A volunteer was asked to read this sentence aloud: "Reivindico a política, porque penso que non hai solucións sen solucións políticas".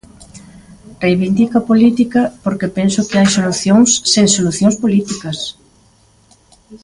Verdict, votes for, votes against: rejected, 1, 2